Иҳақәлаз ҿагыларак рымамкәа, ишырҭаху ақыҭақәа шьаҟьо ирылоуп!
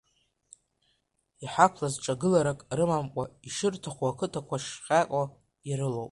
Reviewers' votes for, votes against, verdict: 1, 2, rejected